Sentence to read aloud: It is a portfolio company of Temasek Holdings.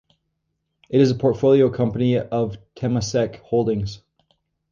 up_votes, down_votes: 0, 2